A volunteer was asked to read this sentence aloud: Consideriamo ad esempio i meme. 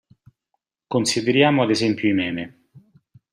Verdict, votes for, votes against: accepted, 2, 0